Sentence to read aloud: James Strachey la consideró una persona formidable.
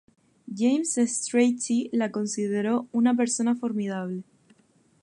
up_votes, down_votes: 2, 0